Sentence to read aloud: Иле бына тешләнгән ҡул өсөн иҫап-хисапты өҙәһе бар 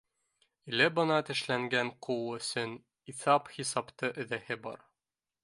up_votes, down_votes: 0, 2